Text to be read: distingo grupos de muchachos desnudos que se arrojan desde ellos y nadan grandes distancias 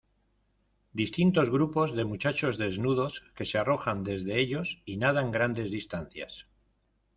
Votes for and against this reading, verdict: 0, 2, rejected